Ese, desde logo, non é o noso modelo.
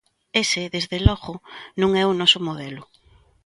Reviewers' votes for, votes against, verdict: 2, 0, accepted